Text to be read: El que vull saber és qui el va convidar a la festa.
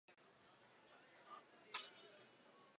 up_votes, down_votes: 0, 2